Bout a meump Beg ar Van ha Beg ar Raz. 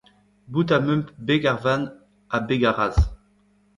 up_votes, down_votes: 1, 2